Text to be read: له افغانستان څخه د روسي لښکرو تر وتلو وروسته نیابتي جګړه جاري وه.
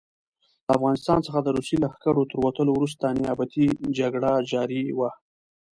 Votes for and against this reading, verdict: 2, 0, accepted